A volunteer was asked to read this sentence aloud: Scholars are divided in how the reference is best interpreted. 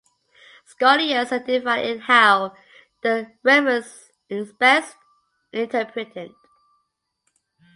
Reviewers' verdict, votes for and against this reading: rejected, 0, 2